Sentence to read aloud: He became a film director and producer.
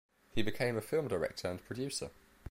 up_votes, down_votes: 1, 2